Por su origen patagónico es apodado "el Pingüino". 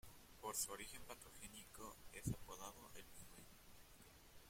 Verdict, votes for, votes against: rejected, 1, 2